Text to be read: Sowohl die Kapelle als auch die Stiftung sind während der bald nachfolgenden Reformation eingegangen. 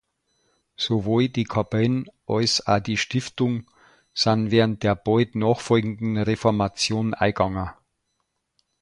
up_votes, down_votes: 1, 2